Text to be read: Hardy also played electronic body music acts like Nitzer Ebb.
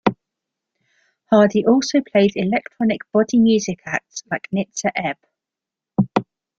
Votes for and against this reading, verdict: 2, 0, accepted